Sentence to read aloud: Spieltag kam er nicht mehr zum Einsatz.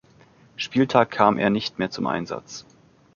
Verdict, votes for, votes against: accepted, 2, 0